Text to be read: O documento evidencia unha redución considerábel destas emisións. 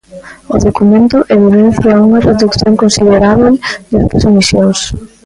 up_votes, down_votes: 0, 2